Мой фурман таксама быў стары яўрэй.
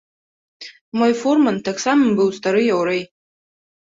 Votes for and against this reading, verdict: 2, 0, accepted